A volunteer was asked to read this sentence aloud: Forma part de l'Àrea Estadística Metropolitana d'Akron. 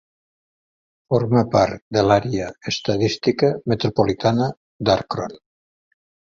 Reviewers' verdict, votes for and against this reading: rejected, 1, 2